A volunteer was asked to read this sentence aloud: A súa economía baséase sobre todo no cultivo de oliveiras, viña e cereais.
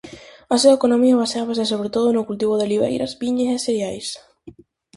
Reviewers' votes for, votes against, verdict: 2, 2, rejected